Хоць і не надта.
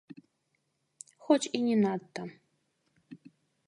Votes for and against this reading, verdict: 1, 2, rejected